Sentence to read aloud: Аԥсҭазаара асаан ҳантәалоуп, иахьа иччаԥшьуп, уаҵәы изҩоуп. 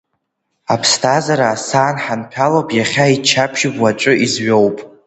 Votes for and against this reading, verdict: 0, 2, rejected